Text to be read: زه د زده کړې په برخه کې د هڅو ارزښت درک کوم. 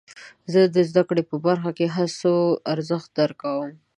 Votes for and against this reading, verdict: 2, 0, accepted